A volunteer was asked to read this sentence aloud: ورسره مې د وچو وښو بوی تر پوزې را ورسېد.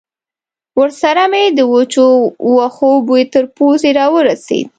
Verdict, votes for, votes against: accepted, 2, 0